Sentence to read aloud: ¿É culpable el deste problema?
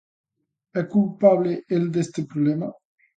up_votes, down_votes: 2, 0